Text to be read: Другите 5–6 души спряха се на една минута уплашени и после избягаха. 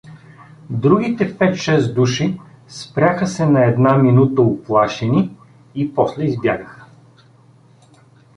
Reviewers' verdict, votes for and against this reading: rejected, 0, 2